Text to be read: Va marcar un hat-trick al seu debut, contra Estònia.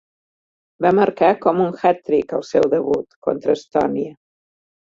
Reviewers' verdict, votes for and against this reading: rejected, 1, 2